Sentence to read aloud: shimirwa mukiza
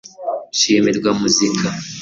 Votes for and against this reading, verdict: 1, 2, rejected